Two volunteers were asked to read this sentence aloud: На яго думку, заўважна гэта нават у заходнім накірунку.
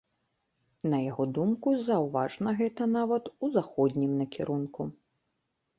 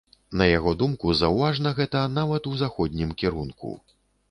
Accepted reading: first